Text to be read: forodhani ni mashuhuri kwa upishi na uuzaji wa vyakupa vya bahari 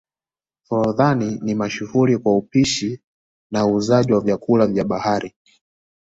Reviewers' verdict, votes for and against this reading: accepted, 2, 0